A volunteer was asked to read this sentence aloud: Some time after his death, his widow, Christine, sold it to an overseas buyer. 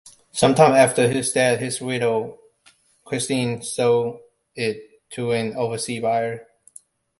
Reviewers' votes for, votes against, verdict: 0, 2, rejected